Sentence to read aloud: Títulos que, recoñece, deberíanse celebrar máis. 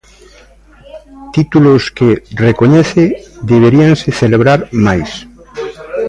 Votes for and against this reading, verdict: 0, 2, rejected